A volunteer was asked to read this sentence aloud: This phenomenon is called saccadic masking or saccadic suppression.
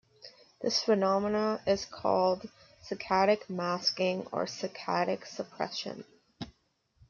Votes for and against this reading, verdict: 2, 1, accepted